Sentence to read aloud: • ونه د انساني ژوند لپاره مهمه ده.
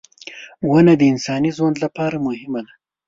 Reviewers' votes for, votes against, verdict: 1, 2, rejected